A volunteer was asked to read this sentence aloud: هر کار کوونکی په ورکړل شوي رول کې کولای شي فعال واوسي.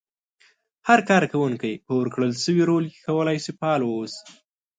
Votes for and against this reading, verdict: 6, 0, accepted